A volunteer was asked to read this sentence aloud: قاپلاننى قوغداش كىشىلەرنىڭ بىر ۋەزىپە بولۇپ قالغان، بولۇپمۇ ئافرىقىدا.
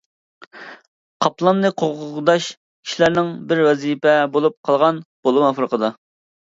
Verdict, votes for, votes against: accepted, 2, 1